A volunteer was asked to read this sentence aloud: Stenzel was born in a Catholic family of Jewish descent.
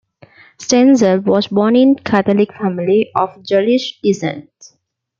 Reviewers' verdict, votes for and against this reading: accepted, 2, 1